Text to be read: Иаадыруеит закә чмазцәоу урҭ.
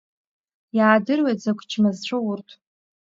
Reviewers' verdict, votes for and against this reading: rejected, 1, 2